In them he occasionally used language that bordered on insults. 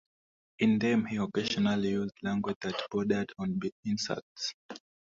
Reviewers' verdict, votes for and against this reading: rejected, 1, 2